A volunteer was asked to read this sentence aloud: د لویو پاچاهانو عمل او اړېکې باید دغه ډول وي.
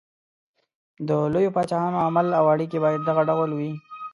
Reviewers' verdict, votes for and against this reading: rejected, 1, 2